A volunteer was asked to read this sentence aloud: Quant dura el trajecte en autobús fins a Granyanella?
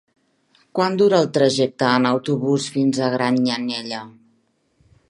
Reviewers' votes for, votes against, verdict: 1, 2, rejected